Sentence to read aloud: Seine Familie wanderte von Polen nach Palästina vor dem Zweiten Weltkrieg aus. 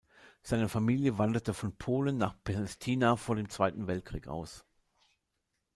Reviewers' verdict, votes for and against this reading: rejected, 0, 2